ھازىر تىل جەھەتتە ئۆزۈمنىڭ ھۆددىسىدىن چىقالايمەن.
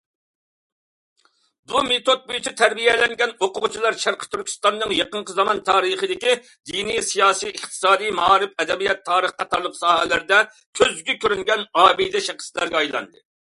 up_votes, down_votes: 0, 2